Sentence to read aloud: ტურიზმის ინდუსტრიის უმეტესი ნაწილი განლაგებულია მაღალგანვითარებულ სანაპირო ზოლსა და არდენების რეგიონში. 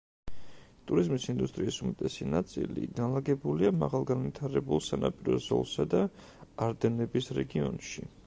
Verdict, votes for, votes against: rejected, 1, 2